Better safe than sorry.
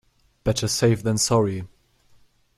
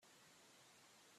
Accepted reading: first